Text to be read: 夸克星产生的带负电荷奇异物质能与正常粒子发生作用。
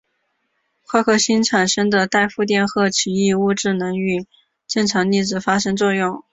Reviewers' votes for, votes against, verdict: 4, 0, accepted